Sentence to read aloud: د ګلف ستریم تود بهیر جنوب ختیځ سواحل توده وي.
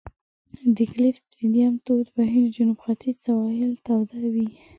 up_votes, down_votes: 2, 0